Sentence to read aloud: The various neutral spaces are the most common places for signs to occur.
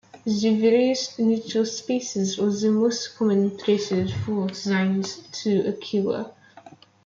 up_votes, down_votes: 1, 2